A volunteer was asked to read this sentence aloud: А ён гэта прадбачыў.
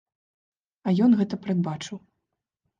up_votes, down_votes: 1, 2